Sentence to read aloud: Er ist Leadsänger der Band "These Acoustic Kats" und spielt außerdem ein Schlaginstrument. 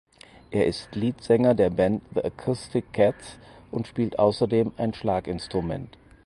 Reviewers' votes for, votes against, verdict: 2, 4, rejected